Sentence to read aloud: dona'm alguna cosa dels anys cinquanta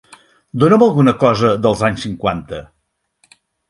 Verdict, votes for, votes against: accepted, 6, 0